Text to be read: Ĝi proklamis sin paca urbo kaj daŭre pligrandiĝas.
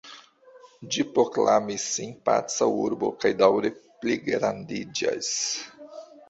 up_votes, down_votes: 1, 2